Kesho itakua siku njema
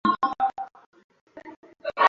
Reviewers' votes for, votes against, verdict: 0, 2, rejected